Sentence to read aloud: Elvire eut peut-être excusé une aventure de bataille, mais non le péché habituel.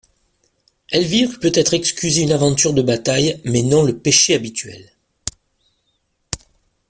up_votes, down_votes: 0, 2